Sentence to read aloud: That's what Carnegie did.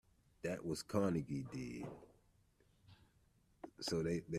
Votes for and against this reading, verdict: 0, 2, rejected